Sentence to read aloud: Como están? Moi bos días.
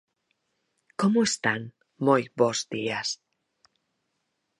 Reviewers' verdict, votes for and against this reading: accepted, 4, 0